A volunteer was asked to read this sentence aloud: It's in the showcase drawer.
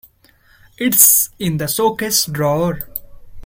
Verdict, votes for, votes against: accepted, 2, 1